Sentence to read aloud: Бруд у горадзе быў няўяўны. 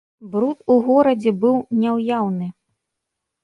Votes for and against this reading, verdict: 2, 0, accepted